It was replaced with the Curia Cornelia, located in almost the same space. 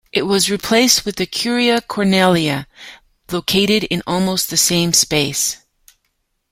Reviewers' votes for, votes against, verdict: 2, 0, accepted